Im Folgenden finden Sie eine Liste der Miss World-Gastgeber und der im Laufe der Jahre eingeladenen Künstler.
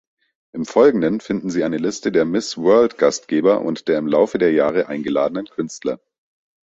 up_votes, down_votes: 2, 0